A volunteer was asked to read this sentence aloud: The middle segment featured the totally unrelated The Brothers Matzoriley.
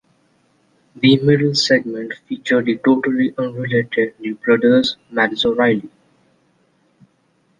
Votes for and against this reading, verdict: 2, 0, accepted